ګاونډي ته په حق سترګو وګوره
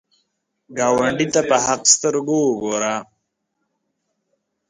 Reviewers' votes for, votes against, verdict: 1, 2, rejected